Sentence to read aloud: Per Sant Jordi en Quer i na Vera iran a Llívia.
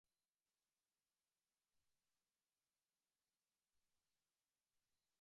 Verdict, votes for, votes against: rejected, 0, 3